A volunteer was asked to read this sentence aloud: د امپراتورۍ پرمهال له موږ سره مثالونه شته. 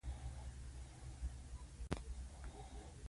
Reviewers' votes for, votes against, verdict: 2, 0, accepted